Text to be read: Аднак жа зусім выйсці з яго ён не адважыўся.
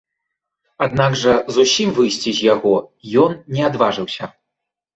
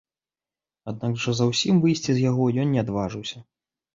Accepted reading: first